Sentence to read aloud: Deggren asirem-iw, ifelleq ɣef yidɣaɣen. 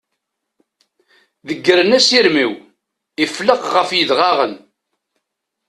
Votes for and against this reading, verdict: 2, 0, accepted